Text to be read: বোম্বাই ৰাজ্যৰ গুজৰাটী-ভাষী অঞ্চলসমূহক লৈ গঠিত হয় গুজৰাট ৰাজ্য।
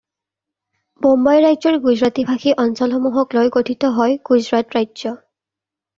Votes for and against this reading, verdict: 2, 0, accepted